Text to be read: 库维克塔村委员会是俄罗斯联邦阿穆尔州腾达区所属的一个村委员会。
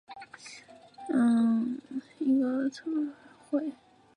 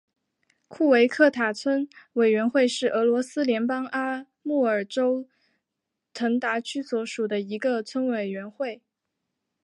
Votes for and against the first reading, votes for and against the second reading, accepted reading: 3, 5, 2, 0, second